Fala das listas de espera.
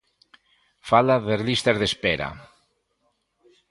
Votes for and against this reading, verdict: 2, 0, accepted